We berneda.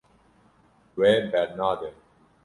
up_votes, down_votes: 1, 2